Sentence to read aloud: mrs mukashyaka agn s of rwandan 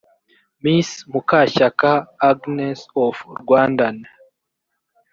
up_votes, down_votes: 2, 0